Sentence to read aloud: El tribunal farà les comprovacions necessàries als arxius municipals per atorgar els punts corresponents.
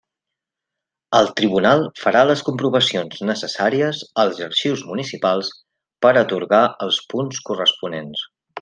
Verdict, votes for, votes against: accepted, 3, 0